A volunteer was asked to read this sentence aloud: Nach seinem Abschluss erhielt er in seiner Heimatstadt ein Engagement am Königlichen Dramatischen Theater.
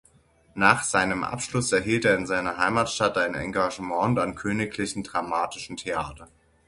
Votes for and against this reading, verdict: 0, 6, rejected